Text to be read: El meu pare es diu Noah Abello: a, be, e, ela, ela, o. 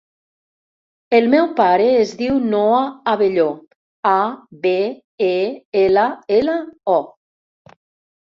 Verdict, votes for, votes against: rejected, 0, 2